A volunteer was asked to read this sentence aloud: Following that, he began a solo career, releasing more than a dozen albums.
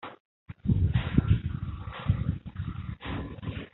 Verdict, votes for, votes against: rejected, 0, 2